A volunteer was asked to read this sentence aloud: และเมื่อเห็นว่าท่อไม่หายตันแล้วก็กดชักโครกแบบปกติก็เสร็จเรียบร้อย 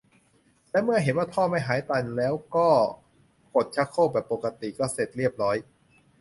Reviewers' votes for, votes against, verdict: 2, 0, accepted